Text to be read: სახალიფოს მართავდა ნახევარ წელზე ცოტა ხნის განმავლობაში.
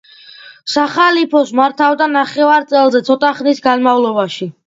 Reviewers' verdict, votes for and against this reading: accepted, 2, 0